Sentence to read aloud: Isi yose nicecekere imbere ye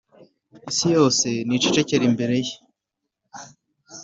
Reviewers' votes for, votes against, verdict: 3, 0, accepted